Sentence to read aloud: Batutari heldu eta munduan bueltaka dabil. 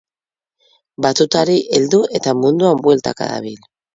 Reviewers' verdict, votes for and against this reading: accepted, 6, 0